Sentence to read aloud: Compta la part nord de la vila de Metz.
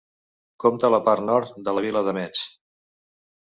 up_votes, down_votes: 2, 0